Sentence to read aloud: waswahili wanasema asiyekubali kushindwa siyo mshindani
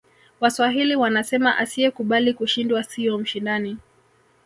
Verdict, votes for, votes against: rejected, 1, 2